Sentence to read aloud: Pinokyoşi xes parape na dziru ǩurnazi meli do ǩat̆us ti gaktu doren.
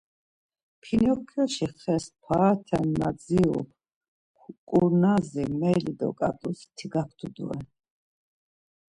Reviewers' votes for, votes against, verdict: 1, 2, rejected